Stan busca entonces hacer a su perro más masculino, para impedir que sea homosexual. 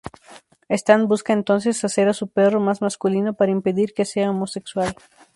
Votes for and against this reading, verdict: 4, 0, accepted